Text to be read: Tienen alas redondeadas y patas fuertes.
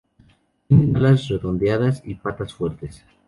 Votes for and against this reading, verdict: 0, 2, rejected